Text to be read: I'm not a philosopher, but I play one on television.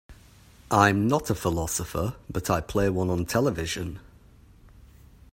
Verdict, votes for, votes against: accepted, 2, 0